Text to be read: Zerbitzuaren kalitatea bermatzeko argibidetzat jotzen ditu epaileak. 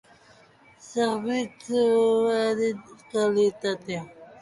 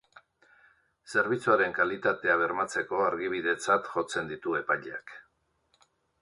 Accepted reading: second